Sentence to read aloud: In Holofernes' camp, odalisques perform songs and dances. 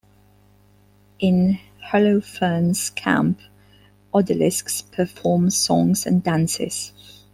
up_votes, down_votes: 2, 0